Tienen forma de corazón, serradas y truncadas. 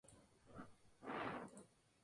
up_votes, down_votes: 0, 2